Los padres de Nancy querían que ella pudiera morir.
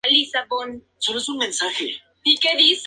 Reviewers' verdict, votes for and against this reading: rejected, 0, 2